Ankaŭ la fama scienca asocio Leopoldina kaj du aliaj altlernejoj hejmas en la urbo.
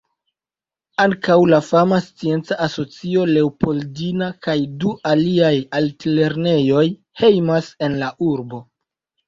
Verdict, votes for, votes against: accepted, 2, 0